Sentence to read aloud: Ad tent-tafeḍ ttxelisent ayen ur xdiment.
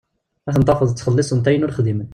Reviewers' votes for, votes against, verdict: 1, 2, rejected